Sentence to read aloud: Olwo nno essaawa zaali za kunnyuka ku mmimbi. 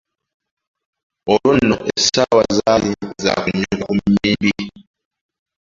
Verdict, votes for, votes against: rejected, 0, 2